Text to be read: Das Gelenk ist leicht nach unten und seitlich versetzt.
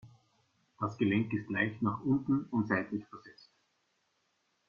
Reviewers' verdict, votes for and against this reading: rejected, 1, 2